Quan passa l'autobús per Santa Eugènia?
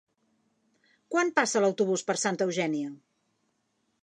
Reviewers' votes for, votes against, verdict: 3, 0, accepted